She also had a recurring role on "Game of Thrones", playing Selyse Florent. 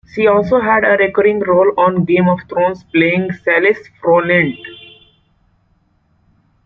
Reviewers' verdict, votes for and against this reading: rejected, 0, 2